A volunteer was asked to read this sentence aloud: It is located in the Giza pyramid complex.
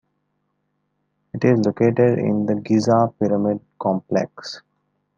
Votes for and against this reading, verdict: 1, 2, rejected